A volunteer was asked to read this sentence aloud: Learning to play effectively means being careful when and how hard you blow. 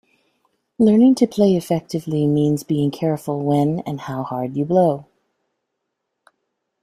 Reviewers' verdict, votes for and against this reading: accepted, 2, 0